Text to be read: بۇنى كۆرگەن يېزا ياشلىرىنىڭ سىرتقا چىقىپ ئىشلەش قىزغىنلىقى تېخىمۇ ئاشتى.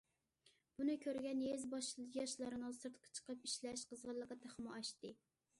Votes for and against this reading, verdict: 0, 2, rejected